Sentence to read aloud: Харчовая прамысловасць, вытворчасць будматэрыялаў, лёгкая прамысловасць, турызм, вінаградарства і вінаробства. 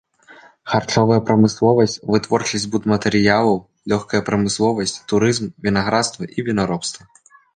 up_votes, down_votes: 0, 2